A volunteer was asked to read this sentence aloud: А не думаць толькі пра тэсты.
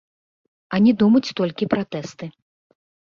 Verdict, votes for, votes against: rejected, 1, 2